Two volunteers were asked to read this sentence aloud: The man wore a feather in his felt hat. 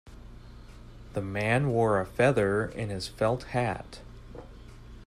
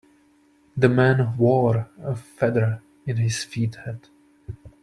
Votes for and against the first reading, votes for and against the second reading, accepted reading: 3, 0, 1, 2, first